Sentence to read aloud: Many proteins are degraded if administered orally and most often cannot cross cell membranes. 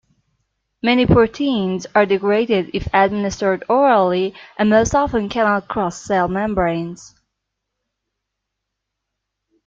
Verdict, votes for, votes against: accepted, 2, 0